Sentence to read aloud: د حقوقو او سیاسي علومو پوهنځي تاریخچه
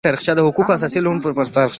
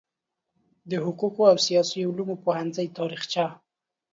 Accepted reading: second